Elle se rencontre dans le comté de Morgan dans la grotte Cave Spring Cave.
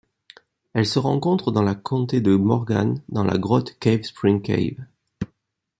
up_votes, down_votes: 0, 2